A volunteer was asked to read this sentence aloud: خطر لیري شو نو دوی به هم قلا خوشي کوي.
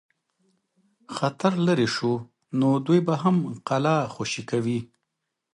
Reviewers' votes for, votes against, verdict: 2, 0, accepted